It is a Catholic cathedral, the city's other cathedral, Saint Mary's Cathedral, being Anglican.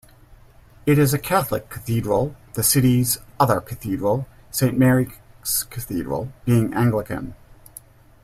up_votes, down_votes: 1, 2